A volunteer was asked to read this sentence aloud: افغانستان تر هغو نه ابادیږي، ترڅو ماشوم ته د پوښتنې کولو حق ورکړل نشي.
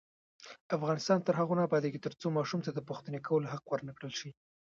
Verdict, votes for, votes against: rejected, 0, 2